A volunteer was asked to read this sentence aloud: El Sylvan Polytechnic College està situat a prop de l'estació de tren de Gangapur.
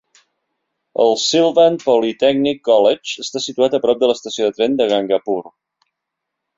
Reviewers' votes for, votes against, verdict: 3, 0, accepted